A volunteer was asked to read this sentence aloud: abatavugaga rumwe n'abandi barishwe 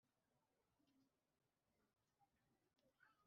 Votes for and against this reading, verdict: 2, 0, accepted